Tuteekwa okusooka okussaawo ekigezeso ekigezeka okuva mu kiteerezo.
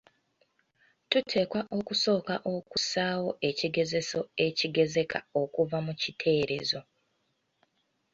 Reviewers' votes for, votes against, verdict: 2, 0, accepted